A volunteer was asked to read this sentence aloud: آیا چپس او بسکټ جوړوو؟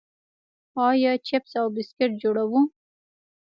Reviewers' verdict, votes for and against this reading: rejected, 1, 2